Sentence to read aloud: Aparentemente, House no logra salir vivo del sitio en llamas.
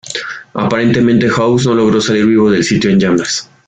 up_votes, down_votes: 1, 2